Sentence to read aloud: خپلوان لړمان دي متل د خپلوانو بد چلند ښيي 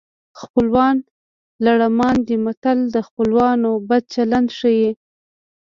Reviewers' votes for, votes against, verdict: 1, 2, rejected